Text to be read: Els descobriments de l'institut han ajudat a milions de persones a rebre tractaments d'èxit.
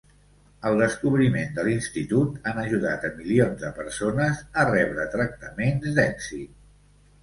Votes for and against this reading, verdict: 2, 0, accepted